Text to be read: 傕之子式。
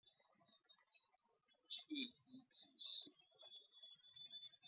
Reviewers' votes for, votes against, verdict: 0, 2, rejected